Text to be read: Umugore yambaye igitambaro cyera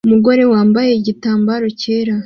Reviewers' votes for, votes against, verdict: 2, 0, accepted